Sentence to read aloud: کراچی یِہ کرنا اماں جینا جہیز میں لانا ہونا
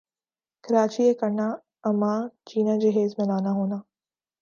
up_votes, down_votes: 3, 0